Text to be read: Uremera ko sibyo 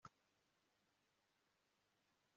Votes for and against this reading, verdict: 1, 2, rejected